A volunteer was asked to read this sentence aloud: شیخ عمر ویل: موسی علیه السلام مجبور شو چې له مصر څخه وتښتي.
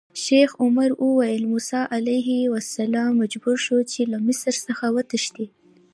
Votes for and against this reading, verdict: 2, 1, accepted